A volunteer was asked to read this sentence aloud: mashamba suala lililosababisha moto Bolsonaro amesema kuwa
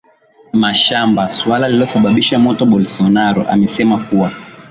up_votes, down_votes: 2, 0